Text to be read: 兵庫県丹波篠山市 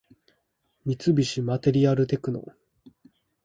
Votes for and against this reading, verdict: 0, 2, rejected